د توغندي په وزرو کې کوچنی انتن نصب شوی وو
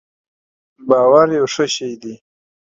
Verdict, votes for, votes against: rejected, 0, 2